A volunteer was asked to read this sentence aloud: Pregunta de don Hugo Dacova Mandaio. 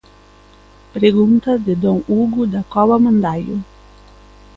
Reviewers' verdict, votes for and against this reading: accepted, 2, 0